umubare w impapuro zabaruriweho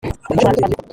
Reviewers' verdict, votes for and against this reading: rejected, 0, 2